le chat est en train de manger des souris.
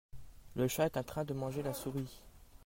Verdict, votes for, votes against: rejected, 0, 2